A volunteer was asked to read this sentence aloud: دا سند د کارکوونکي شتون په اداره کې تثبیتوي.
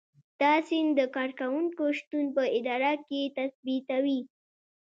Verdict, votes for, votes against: accepted, 2, 0